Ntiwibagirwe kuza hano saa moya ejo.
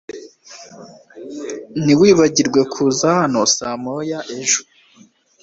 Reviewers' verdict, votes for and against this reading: accepted, 2, 0